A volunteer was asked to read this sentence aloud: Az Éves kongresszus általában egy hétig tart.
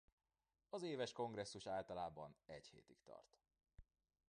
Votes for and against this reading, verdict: 2, 0, accepted